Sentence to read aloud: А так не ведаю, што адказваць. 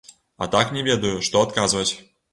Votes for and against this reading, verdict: 2, 0, accepted